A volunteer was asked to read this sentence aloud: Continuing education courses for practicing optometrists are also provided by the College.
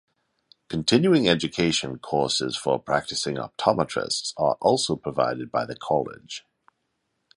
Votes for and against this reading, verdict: 2, 0, accepted